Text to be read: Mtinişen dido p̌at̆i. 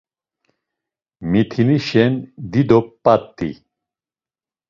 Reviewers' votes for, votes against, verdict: 0, 2, rejected